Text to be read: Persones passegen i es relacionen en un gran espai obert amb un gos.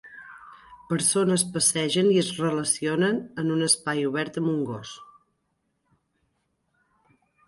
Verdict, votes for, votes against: rejected, 1, 2